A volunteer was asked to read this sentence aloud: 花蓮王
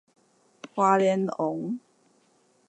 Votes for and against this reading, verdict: 0, 2, rejected